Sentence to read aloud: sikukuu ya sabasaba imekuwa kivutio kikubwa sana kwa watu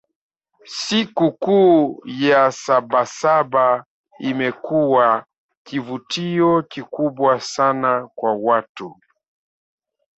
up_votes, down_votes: 1, 2